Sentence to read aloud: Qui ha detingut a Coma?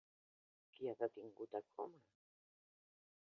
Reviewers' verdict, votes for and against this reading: rejected, 3, 5